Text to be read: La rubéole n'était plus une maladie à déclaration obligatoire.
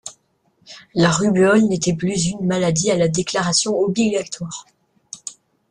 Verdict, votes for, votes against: rejected, 0, 2